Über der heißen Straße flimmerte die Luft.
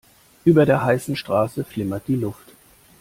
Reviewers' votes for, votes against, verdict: 0, 2, rejected